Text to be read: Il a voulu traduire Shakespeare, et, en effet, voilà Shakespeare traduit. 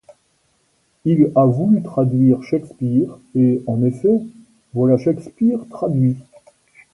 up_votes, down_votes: 2, 0